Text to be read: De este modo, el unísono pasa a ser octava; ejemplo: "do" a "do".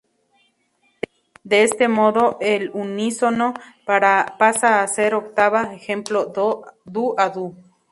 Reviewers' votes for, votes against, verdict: 0, 2, rejected